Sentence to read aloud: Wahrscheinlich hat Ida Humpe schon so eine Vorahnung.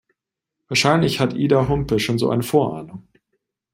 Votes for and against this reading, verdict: 2, 0, accepted